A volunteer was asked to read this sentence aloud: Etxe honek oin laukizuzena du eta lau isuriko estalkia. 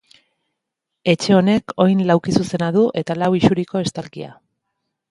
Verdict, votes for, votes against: accepted, 2, 0